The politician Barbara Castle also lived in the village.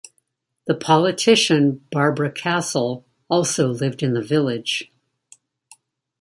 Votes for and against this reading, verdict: 2, 0, accepted